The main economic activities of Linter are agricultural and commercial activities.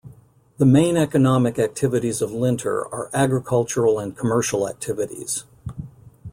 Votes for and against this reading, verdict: 2, 0, accepted